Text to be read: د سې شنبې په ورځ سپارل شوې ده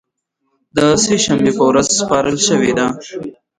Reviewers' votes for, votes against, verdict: 1, 2, rejected